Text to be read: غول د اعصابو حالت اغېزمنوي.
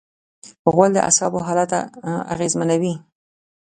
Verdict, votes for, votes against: accepted, 2, 0